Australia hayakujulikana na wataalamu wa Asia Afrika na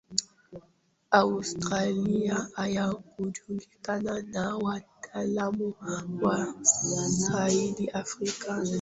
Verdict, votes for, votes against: rejected, 0, 2